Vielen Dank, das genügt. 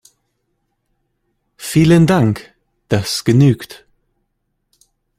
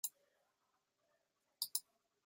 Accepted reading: first